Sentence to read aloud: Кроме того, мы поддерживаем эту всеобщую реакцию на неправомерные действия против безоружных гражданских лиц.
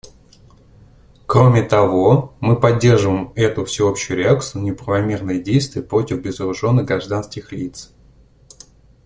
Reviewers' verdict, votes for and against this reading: rejected, 1, 2